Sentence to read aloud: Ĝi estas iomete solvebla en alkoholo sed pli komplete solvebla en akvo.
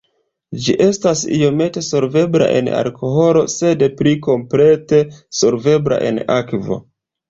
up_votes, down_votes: 2, 0